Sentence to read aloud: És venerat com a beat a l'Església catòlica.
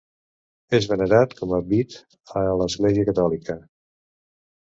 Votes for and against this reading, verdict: 0, 2, rejected